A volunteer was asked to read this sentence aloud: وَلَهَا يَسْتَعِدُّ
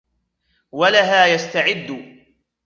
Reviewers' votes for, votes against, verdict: 2, 1, accepted